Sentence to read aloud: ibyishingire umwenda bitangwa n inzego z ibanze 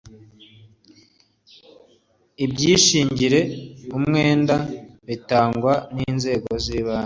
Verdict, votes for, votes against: accepted, 3, 0